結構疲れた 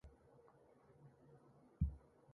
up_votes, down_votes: 1, 2